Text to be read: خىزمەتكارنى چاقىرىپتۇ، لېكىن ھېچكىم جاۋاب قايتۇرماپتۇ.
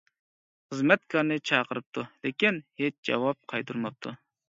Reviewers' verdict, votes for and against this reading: rejected, 0, 2